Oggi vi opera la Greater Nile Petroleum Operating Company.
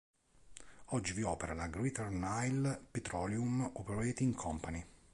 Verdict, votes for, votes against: accepted, 2, 0